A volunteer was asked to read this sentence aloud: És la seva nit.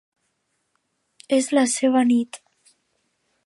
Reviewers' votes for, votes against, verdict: 2, 0, accepted